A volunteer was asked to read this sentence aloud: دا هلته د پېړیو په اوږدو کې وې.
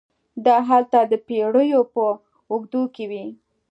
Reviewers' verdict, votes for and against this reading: accepted, 2, 0